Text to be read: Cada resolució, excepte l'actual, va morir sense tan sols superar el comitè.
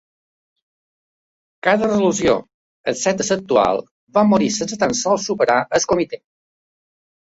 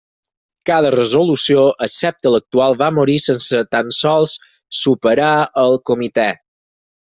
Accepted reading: second